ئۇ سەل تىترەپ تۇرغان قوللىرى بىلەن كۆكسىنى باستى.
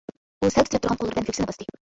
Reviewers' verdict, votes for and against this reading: rejected, 0, 2